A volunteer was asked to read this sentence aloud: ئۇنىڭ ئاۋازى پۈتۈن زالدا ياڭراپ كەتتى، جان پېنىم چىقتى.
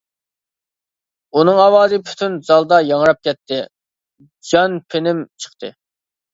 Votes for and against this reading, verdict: 2, 0, accepted